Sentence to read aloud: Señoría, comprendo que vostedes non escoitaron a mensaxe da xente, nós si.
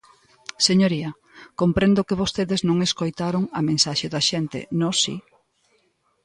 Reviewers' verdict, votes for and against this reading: accepted, 2, 0